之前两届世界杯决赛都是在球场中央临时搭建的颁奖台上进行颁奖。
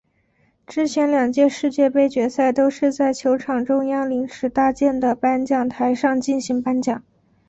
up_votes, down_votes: 3, 4